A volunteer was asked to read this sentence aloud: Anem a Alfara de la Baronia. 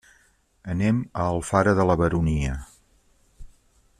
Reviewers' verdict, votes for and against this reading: accepted, 3, 0